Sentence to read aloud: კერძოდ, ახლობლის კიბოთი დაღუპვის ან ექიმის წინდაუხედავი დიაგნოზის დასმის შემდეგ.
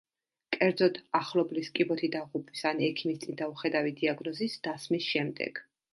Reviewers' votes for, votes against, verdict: 1, 2, rejected